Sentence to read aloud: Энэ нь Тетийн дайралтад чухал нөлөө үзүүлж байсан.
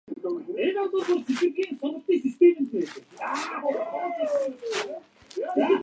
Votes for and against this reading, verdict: 0, 2, rejected